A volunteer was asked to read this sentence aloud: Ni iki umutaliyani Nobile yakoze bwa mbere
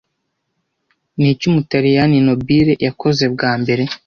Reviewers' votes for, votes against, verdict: 2, 0, accepted